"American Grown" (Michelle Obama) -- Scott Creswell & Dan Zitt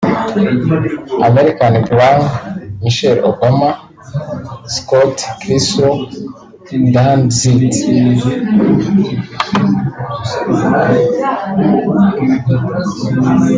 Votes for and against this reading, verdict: 1, 4, rejected